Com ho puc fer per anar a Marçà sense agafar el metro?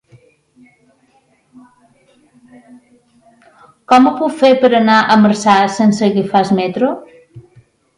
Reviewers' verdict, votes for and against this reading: rejected, 2, 3